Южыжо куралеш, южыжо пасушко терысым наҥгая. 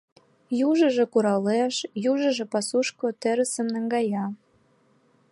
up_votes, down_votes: 2, 0